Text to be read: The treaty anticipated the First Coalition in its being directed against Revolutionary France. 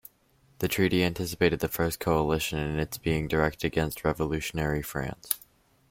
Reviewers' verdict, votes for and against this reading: rejected, 0, 2